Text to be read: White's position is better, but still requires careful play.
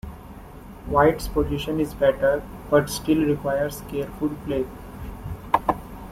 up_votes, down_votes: 2, 1